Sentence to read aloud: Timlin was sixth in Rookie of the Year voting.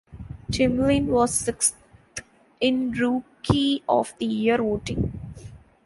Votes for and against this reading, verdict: 1, 2, rejected